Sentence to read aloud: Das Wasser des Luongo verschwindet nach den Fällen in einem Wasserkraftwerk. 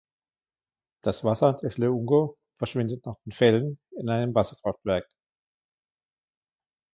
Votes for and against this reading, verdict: 2, 1, accepted